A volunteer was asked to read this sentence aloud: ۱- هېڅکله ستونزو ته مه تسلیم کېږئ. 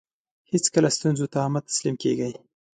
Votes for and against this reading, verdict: 0, 2, rejected